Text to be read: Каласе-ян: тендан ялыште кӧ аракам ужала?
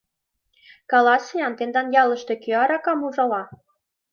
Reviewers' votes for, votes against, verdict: 2, 0, accepted